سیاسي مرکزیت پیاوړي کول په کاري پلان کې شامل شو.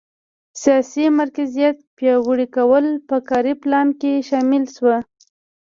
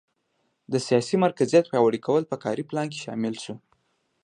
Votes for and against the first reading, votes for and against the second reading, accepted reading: 0, 2, 2, 0, second